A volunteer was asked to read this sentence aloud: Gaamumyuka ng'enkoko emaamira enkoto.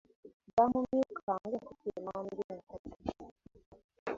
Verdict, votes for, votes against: rejected, 0, 2